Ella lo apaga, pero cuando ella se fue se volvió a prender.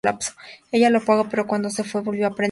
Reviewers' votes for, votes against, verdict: 0, 2, rejected